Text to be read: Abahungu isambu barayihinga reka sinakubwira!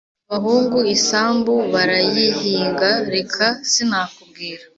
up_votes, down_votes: 2, 0